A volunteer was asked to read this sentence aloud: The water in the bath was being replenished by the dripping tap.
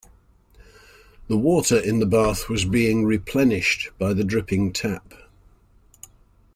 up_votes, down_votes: 2, 0